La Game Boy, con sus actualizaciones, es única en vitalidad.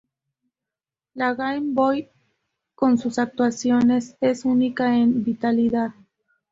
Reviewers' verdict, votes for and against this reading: rejected, 2, 6